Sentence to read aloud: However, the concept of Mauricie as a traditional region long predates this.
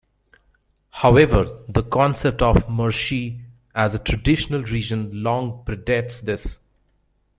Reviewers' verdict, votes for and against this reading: rejected, 1, 2